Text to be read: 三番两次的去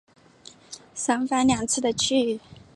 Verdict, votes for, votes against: accepted, 2, 0